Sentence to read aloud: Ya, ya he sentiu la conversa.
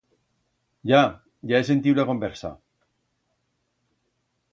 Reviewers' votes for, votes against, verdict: 2, 0, accepted